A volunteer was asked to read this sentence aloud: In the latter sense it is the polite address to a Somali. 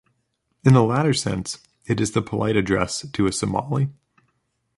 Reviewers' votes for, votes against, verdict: 2, 0, accepted